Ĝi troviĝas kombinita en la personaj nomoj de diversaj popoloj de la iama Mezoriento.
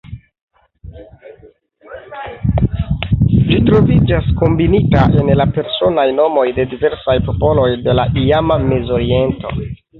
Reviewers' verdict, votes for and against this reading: accepted, 2, 1